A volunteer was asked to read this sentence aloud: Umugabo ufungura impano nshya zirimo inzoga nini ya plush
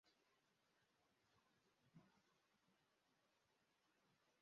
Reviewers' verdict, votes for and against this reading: rejected, 0, 2